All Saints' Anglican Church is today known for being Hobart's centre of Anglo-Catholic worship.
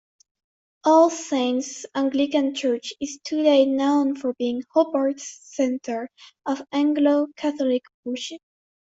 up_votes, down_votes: 2, 1